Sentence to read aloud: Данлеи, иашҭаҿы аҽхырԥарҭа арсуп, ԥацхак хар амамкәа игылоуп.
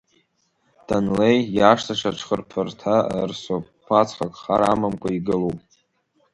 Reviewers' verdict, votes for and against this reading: rejected, 1, 2